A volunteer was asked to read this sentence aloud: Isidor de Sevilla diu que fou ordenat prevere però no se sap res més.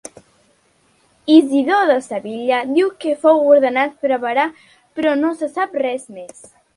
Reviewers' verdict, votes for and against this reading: rejected, 1, 2